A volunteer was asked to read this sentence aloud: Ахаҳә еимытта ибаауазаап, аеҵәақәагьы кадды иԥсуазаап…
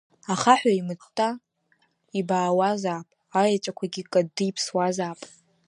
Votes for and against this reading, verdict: 1, 2, rejected